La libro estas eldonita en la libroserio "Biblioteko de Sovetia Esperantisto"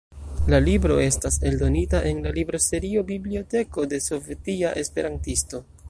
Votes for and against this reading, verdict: 2, 0, accepted